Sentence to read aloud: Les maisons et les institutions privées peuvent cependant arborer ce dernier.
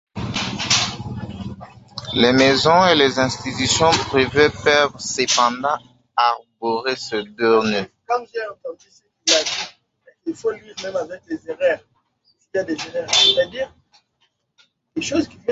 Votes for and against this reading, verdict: 0, 2, rejected